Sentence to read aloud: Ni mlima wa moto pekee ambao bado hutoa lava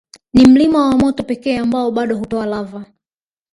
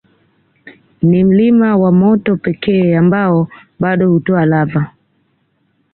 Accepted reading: second